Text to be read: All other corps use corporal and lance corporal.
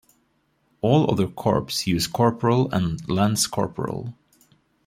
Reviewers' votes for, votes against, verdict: 0, 2, rejected